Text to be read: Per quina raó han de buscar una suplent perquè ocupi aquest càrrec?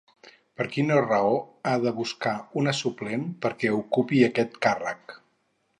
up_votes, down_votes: 2, 2